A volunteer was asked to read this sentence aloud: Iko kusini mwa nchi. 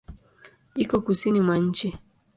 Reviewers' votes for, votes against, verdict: 2, 0, accepted